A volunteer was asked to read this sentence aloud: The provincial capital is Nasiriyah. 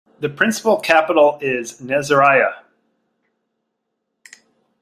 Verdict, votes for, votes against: accepted, 2, 0